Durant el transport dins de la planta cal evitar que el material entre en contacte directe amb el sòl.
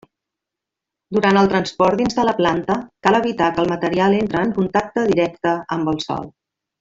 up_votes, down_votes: 1, 2